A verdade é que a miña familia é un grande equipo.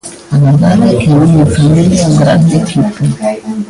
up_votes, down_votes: 0, 2